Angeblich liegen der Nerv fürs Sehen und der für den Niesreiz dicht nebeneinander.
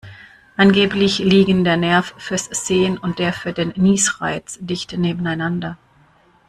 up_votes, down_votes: 2, 0